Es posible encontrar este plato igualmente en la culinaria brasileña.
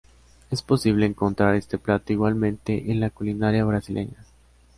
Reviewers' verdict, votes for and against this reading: accepted, 2, 0